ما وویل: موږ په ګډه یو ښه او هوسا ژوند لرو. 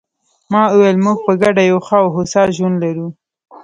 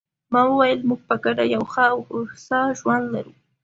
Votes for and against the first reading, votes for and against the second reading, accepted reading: 0, 2, 2, 0, second